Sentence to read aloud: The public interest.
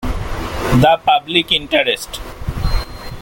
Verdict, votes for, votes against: accepted, 2, 0